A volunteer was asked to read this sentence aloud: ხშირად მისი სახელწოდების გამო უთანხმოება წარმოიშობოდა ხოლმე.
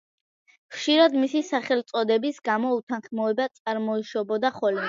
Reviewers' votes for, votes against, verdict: 2, 0, accepted